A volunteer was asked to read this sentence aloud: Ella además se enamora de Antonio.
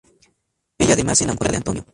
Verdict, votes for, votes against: rejected, 0, 2